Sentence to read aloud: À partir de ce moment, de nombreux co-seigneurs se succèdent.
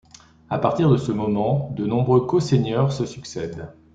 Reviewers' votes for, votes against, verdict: 2, 1, accepted